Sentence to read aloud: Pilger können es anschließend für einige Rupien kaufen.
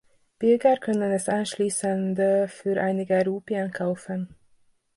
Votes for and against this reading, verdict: 0, 2, rejected